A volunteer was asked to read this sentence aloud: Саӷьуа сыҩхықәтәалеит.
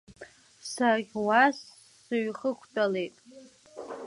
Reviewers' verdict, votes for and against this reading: accepted, 2, 0